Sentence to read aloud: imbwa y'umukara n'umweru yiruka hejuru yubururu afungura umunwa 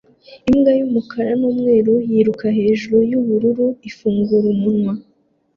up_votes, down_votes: 0, 2